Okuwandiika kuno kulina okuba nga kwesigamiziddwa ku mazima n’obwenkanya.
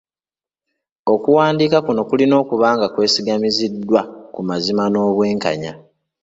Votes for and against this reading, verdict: 2, 0, accepted